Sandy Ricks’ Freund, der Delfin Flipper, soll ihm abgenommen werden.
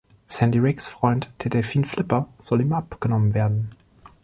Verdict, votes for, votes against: accepted, 2, 1